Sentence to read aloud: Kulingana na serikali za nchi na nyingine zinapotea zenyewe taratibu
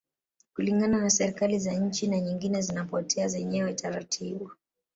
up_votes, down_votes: 2, 0